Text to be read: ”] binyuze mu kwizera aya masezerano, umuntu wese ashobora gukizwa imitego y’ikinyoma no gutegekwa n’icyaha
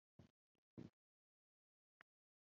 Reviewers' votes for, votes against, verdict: 0, 3, rejected